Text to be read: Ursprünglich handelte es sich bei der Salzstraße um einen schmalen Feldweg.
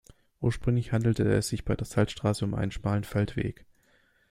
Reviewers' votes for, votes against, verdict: 2, 0, accepted